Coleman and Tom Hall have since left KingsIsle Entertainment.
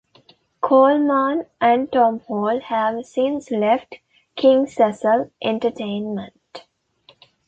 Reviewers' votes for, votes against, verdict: 0, 2, rejected